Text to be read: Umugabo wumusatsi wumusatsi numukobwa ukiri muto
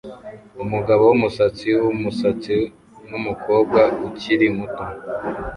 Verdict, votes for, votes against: accepted, 2, 0